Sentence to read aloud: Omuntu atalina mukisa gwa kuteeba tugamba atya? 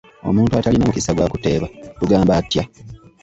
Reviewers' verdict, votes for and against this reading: accepted, 2, 1